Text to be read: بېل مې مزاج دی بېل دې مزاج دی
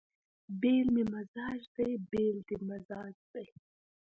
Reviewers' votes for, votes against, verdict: 1, 2, rejected